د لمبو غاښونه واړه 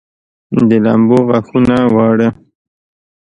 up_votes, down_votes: 2, 0